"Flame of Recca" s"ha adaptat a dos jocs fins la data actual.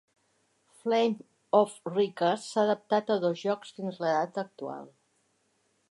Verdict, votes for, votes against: accepted, 4, 1